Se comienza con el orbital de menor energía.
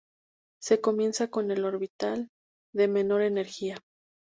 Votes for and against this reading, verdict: 2, 0, accepted